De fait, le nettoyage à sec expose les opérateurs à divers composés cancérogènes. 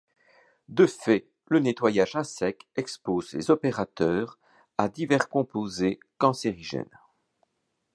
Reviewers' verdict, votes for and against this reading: rejected, 1, 2